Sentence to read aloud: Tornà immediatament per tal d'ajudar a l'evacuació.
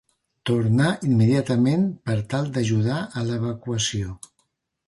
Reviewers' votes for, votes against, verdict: 2, 0, accepted